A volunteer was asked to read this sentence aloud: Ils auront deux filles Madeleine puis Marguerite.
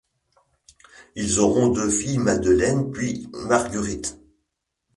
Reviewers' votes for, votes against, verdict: 1, 2, rejected